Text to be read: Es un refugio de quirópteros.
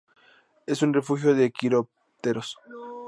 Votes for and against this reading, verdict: 2, 0, accepted